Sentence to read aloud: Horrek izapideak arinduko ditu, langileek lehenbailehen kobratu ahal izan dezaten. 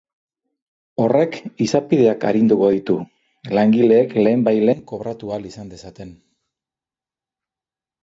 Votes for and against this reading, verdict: 3, 0, accepted